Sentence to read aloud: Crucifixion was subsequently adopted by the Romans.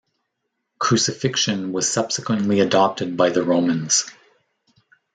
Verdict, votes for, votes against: accepted, 2, 0